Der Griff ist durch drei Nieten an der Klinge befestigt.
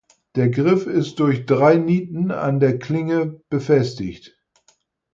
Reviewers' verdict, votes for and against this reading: accepted, 4, 0